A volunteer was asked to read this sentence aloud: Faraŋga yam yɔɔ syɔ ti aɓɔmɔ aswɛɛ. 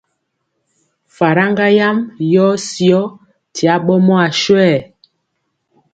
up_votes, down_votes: 2, 0